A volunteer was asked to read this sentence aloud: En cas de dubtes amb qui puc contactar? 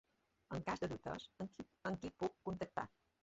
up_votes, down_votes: 0, 2